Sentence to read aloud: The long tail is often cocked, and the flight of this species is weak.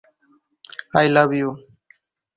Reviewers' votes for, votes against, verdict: 0, 4, rejected